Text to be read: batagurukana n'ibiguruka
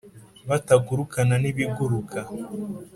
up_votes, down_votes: 2, 0